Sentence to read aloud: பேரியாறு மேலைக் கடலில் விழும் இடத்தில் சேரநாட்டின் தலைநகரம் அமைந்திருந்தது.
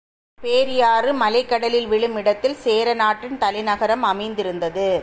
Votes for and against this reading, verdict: 2, 0, accepted